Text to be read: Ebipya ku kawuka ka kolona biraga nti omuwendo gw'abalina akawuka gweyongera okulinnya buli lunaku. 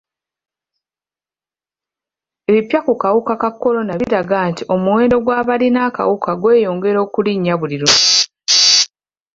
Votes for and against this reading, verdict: 0, 2, rejected